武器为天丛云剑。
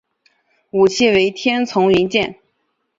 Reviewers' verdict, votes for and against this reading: accepted, 3, 1